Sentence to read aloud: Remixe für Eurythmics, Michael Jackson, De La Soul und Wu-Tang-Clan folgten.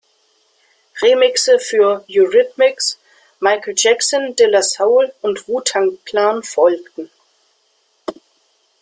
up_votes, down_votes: 1, 2